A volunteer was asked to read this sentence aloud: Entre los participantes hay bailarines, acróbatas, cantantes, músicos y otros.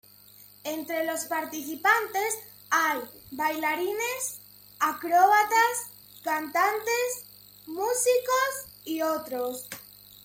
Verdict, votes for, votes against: accepted, 2, 0